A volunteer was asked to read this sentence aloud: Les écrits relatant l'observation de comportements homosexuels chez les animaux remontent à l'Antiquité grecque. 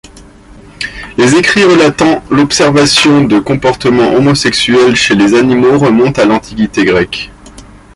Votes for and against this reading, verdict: 2, 0, accepted